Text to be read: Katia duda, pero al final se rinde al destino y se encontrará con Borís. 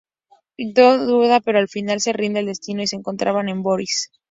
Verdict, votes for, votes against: rejected, 0, 2